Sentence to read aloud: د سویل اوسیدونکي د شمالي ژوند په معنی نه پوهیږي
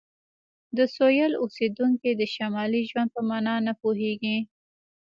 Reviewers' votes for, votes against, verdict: 2, 0, accepted